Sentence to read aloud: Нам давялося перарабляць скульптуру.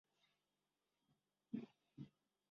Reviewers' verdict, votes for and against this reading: rejected, 0, 2